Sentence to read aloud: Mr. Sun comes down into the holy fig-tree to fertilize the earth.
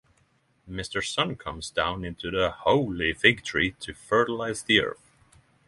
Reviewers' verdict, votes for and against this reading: accepted, 3, 0